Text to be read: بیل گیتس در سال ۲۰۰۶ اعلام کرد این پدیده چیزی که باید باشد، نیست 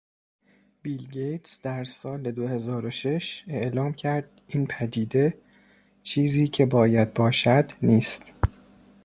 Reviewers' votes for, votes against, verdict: 0, 2, rejected